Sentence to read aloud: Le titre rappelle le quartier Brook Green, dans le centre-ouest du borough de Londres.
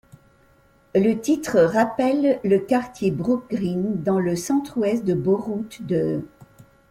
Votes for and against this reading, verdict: 0, 2, rejected